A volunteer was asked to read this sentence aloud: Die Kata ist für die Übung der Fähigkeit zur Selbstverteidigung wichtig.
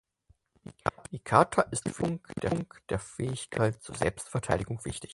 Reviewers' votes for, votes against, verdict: 0, 4, rejected